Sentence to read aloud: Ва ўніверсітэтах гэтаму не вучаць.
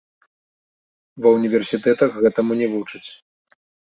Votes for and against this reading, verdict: 2, 1, accepted